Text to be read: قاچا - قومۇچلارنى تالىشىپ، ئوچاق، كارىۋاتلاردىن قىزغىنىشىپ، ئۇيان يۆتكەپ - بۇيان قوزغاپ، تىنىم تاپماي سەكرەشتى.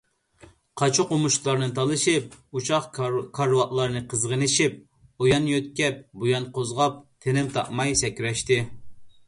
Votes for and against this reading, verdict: 1, 2, rejected